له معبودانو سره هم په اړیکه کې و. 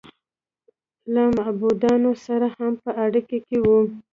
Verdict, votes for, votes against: rejected, 1, 2